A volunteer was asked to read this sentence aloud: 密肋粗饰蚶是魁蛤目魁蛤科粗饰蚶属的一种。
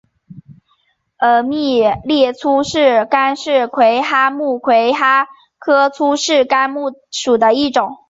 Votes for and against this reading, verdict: 1, 2, rejected